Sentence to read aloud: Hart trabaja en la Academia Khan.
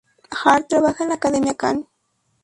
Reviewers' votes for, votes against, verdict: 2, 2, rejected